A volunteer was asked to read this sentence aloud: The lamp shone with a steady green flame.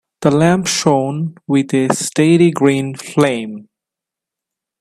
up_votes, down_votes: 1, 2